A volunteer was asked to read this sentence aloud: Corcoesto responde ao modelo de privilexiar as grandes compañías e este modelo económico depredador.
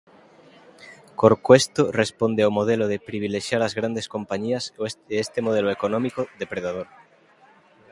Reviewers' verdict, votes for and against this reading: rejected, 0, 2